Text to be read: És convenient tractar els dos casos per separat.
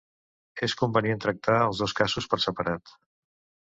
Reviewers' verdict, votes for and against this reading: rejected, 1, 2